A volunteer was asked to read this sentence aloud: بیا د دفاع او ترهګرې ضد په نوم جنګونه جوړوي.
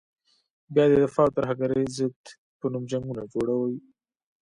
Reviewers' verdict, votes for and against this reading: accepted, 2, 1